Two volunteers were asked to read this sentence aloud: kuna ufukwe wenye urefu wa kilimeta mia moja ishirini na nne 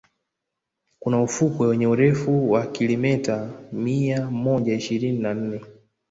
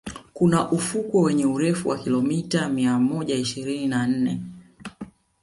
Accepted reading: first